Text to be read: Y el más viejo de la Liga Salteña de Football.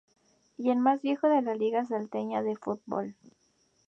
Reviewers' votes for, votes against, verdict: 2, 0, accepted